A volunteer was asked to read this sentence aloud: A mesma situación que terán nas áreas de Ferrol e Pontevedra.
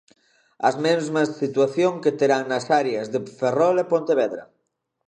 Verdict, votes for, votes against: rejected, 0, 2